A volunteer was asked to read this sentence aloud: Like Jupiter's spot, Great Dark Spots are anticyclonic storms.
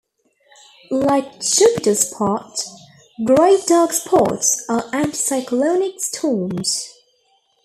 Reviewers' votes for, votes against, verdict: 2, 1, accepted